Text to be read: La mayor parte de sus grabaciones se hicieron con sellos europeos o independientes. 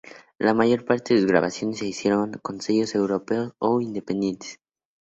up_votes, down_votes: 4, 2